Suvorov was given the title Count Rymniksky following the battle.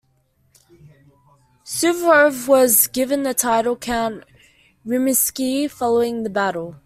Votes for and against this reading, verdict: 0, 2, rejected